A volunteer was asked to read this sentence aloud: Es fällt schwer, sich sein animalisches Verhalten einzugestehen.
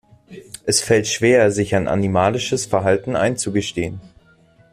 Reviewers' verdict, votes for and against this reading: rejected, 0, 2